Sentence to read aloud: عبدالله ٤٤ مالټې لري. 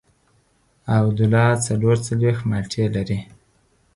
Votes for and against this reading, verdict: 0, 2, rejected